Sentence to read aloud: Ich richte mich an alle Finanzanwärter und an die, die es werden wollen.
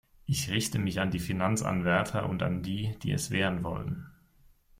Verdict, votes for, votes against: rejected, 1, 2